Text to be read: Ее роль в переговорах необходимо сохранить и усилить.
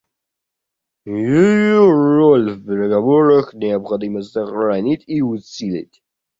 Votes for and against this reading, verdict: 0, 2, rejected